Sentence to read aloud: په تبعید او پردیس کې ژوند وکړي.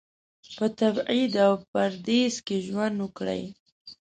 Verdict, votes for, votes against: rejected, 1, 2